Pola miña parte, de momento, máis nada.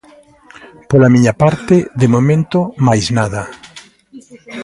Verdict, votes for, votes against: rejected, 0, 2